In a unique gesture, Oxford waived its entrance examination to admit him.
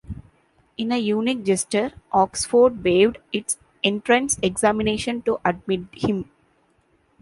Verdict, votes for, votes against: accepted, 2, 0